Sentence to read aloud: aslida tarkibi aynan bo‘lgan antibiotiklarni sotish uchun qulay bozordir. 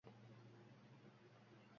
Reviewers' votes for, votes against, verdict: 0, 2, rejected